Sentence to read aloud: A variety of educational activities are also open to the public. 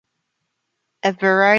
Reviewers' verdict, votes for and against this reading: rejected, 0, 2